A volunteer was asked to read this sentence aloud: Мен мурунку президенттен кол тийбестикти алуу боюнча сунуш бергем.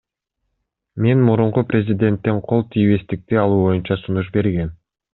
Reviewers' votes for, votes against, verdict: 2, 0, accepted